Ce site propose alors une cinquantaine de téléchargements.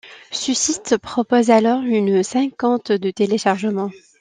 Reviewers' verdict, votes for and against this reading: rejected, 1, 2